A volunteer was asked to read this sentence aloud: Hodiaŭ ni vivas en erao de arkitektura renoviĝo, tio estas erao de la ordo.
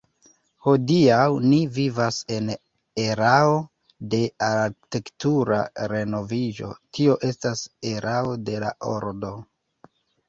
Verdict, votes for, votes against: rejected, 0, 3